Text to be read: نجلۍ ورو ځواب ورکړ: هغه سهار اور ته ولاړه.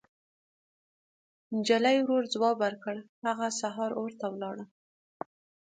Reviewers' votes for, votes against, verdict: 3, 0, accepted